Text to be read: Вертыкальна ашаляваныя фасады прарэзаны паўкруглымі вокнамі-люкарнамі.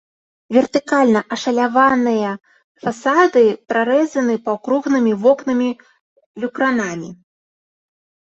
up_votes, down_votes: 0, 2